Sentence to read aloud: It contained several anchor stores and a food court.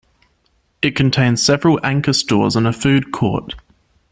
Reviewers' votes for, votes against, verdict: 2, 0, accepted